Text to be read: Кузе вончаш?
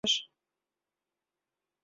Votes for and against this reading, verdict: 1, 2, rejected